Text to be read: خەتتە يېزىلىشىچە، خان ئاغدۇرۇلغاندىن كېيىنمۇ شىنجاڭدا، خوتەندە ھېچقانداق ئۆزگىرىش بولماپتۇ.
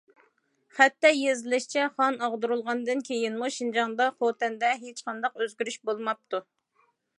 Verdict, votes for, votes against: accepted, 2, 0